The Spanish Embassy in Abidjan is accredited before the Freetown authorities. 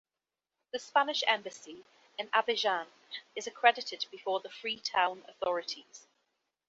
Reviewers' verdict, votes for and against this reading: accepted, 2, 0